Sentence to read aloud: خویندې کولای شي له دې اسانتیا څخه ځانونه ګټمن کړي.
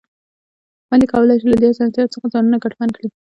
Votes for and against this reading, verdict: 2, 0, accepted